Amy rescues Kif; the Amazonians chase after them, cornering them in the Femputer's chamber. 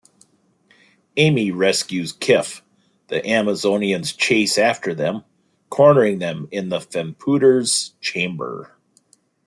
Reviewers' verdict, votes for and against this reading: accepted, 2, 1